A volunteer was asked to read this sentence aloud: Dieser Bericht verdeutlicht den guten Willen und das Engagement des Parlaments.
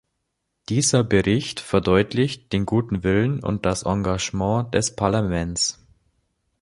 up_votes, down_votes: 2, 0